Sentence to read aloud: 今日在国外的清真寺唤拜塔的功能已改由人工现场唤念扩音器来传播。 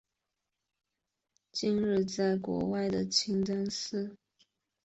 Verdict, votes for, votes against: rejected, 0, 3